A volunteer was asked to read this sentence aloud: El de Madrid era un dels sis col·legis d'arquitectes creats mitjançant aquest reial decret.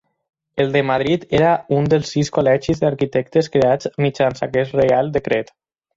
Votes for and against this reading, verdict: 2, 4, rejected